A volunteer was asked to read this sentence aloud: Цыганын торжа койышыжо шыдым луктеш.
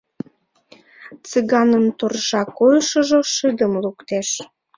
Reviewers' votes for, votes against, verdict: 4, 0, accepted